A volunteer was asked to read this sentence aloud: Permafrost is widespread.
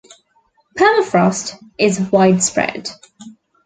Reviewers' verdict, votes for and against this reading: accepted, 2, 0